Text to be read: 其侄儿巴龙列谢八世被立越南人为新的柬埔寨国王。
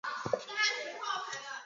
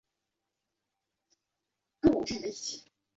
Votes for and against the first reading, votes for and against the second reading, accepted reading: 1, 2, 2, 0, second